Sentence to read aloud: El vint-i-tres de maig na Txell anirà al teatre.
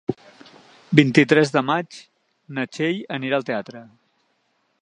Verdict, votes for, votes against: rejected, 0, 2